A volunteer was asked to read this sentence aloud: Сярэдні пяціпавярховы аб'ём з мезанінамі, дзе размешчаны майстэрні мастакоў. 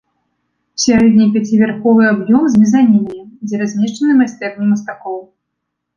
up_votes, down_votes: 2, 0